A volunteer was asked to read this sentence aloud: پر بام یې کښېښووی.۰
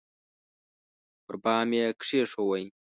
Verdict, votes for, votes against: rejected, 0, 2